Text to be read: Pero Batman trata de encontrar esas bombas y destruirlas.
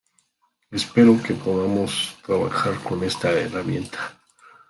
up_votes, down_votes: 0, 2